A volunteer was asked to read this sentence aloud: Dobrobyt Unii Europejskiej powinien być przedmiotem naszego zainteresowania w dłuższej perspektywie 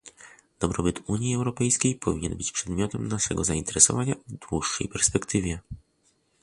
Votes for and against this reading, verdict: 2, 0, accepted